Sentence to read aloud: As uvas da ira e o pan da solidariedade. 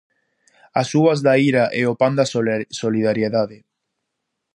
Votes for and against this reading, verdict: 0, 2, rejected